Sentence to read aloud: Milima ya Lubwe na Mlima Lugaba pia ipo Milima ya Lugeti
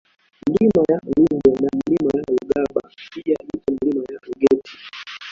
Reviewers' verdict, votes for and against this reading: rejected, 1, 2